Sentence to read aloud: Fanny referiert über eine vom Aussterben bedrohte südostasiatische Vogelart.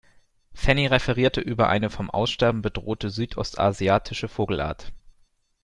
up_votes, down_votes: 2, 1